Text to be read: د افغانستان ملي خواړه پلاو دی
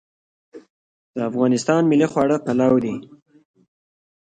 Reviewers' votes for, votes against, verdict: 2, 0, accepted